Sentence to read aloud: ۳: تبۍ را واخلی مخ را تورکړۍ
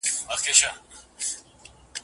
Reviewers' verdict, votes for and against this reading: rejected, 0, 2